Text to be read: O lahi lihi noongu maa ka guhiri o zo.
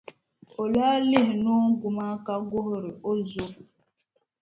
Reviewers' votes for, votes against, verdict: 2, 0, accepted